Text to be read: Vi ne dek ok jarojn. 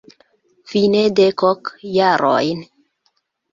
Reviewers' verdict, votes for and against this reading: accepted, 2, 1